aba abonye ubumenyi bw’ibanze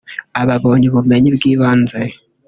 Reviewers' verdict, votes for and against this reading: rejected, 1, 2